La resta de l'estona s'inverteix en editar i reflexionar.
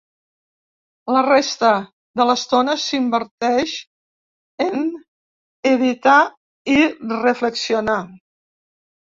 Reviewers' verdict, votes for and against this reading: accepted, 2, 0